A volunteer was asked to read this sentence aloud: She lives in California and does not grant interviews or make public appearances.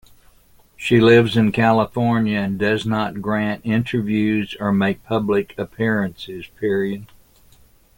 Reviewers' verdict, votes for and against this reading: rejected, 0, 2